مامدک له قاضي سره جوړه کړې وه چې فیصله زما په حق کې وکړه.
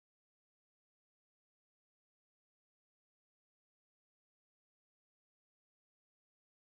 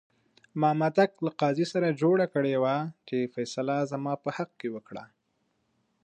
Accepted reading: second